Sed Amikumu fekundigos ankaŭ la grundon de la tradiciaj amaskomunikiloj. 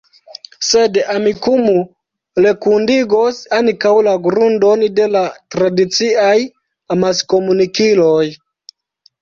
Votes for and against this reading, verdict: 1, 2, rejected